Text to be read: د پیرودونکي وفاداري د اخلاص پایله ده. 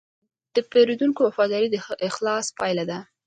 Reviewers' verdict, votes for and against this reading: rejected, 0, 2